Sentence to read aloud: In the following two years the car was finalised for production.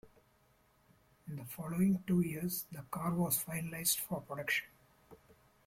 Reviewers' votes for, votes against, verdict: 2, 0, accepted